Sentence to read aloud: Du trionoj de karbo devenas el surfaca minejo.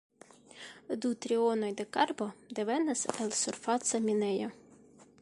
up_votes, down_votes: 2, 0